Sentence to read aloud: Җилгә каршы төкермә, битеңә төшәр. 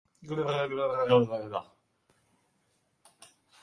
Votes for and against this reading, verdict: 0, 2, rejected